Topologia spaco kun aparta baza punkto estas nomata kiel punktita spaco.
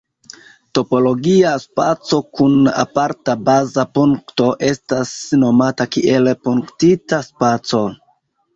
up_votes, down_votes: 0, 2